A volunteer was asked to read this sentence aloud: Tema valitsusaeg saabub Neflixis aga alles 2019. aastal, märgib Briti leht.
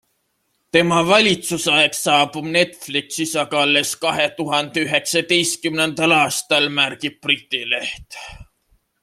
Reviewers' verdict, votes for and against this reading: rejected, 0, 2